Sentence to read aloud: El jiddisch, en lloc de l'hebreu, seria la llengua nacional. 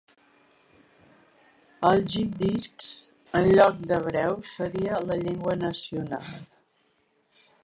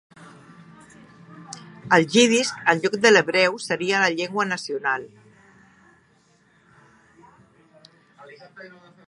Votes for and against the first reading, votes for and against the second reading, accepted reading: 1, 2, 3, 2, second